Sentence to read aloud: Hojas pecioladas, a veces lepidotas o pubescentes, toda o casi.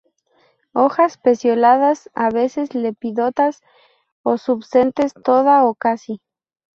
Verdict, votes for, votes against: rejected, 0, 2